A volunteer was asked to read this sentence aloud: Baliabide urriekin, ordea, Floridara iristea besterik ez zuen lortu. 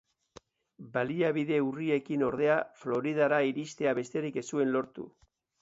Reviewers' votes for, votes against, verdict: 2, 0, accepted